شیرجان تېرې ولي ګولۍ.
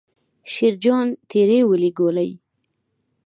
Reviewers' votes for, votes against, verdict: 3, 0, accepted